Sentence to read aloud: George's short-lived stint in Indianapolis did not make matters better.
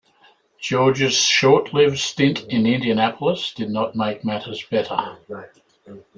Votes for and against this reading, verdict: 0, 2, rejected